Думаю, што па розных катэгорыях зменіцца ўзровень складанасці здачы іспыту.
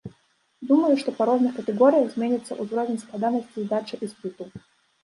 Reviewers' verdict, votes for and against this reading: rejected, 1, 2